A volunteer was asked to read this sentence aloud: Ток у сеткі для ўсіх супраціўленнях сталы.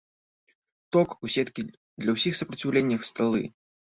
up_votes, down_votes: 1, 2